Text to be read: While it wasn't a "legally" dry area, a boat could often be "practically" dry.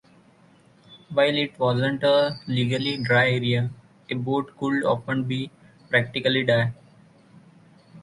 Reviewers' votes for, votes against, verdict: 0, 2, rejected